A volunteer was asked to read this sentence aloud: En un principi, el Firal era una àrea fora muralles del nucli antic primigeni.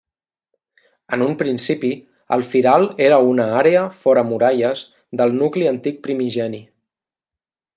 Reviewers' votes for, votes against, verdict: 3, 0, accepted